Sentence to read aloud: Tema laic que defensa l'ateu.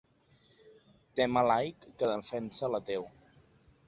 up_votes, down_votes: 2, 0